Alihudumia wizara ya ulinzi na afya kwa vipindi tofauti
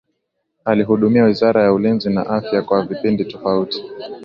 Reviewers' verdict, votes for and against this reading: accepted, 2, 0